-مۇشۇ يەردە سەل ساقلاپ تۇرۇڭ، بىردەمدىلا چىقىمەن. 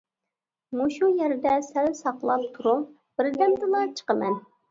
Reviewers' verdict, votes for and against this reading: rejected, 1, 2